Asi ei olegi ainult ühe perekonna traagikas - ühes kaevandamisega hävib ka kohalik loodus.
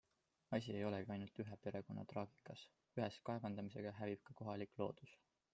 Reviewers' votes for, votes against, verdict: 2, 0, accepted